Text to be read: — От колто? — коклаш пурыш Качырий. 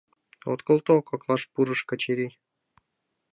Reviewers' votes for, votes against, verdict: 3, 0, accepted